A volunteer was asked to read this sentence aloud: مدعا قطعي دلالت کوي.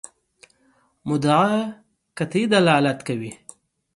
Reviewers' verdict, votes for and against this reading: accepted, 3, 0